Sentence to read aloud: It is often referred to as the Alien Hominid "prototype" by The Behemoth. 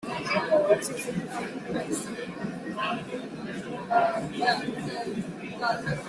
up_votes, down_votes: 0, 2